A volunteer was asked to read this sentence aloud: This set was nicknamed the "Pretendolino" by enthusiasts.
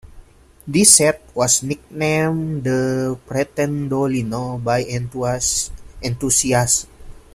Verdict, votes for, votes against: accepted, 2, 1